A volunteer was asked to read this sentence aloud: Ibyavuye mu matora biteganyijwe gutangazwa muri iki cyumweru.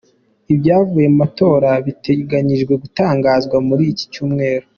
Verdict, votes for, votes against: accepted, 2, 1